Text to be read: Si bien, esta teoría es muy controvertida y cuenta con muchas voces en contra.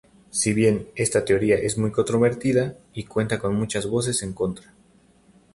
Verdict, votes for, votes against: rejected, 0, 2